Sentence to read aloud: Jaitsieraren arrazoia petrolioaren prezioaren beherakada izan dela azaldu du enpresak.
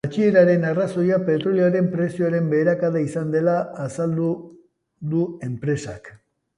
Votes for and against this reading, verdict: 2, 0, accepted